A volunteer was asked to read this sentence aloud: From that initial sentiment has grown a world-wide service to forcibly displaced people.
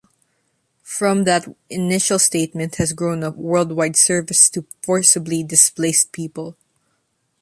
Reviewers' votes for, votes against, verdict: 0, 2, rejected